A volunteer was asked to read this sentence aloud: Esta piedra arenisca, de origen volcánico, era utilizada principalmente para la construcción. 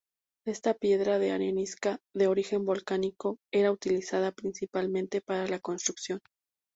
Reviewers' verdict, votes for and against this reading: accepted, 2, 0